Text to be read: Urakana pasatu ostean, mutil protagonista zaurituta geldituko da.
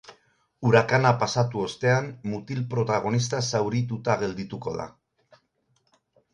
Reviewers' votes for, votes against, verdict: 2, 2, rejected